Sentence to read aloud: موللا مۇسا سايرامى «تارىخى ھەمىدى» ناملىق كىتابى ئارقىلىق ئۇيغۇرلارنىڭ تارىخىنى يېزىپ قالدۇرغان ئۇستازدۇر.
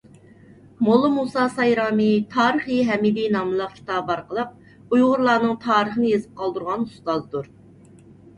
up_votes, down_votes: 2, 0